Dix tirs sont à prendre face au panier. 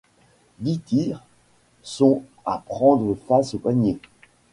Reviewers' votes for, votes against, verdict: 2, 0, accepted